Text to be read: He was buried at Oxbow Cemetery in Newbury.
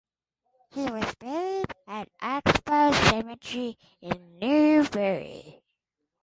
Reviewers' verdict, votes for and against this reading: accepted, 2, 0